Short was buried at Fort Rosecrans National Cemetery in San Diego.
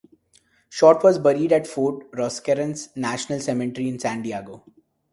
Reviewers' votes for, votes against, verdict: 0, 2, rejected